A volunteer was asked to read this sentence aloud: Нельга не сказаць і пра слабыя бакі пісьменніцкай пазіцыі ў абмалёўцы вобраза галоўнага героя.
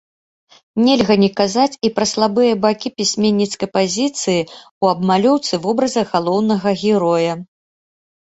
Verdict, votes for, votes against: rejected, 0, 2